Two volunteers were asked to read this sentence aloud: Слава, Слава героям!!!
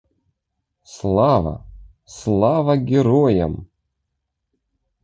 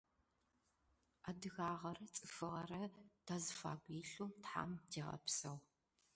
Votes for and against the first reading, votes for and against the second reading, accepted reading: 2, 0, 0, 2, first